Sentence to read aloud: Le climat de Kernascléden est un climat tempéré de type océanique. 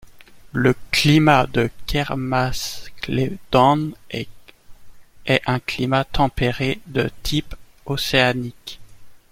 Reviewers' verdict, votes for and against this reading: rejected, 0, 2